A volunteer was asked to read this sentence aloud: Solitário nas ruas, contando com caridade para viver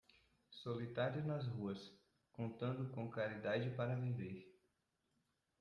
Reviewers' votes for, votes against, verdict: 1, 2, rejected